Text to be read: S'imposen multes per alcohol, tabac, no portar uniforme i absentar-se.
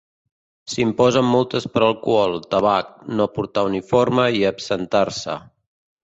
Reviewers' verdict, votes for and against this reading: accepted, 2, 0